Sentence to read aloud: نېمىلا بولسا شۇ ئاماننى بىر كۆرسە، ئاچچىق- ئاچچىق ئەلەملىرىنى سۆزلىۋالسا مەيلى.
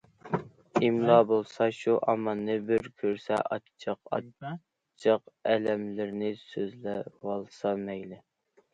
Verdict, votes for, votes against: rejected, 0, 2